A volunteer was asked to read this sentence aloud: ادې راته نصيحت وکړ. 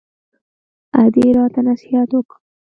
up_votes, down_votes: 2, 0